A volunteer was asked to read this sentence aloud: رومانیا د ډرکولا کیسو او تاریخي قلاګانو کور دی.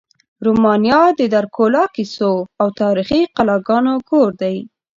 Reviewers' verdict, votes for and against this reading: accepted, 2, 0